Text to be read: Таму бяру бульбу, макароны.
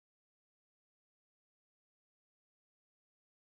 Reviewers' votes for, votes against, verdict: 0, 2, rejected